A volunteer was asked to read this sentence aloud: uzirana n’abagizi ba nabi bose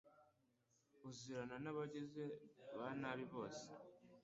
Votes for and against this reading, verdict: 1, 2, rejected